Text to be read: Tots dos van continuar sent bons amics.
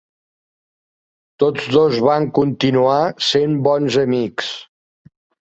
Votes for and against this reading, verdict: 3, 0, accepted